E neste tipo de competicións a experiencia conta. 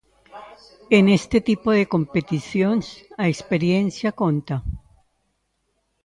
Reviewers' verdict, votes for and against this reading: rejected, 0, 2